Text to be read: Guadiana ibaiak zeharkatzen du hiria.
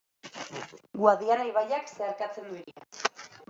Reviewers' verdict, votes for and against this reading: accepted, 2, 0